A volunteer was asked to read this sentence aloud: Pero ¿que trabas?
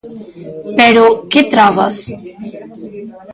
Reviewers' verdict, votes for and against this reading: rejected, 1, 2